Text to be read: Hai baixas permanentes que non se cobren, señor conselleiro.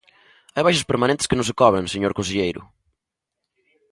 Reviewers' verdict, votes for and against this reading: accepted, 2, 0